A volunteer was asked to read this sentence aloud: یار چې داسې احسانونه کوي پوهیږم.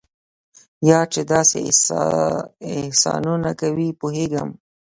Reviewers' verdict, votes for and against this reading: rejected, 1, 2